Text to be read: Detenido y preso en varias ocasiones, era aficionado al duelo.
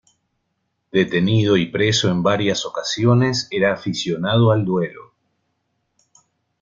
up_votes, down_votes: 2, 0